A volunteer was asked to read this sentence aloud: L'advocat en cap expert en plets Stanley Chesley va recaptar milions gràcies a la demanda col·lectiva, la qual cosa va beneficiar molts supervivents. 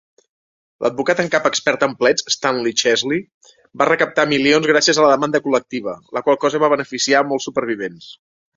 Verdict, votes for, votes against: accepted, 3, 0